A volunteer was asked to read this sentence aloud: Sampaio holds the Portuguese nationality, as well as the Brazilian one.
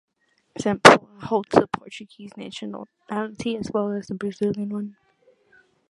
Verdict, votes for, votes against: rejected, 1, 2